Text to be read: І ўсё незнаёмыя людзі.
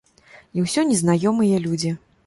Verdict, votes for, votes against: accepted, 2, 0